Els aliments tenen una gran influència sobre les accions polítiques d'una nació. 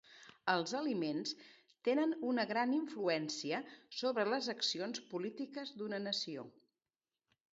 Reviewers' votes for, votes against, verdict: 2, 0, accepted